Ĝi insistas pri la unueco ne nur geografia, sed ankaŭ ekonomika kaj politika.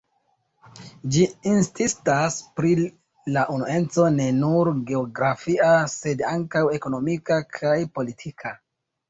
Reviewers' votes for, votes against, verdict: 1, 2, rejected